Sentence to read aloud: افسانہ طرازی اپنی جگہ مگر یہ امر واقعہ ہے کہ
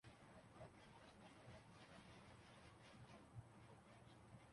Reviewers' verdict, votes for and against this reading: rejected, 0, 2